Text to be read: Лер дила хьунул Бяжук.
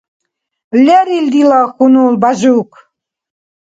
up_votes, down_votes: 1, 2